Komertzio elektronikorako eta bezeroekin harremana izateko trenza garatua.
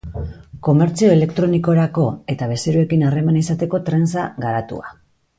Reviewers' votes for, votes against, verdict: 2, 0, accepted